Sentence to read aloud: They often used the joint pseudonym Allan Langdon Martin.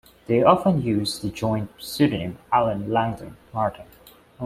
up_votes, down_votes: 1, 2